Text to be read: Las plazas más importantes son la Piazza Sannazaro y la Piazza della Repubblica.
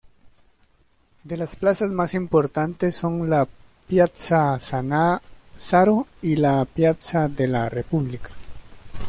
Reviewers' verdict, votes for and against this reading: rejected, 0, 2